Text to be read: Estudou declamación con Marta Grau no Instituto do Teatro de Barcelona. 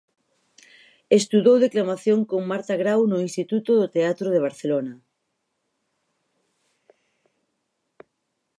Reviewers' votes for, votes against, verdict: 2, 2, rejected